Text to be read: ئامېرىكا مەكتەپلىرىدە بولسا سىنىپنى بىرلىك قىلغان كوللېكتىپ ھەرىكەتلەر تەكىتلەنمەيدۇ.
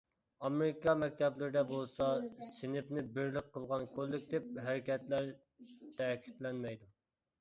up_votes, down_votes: 1, 2